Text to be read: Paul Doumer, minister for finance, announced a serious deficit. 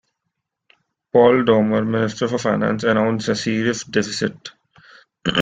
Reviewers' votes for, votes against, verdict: 2, 1, accepted